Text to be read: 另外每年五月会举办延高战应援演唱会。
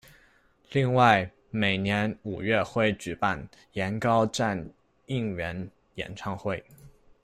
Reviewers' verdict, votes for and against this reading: accepted, 2, 0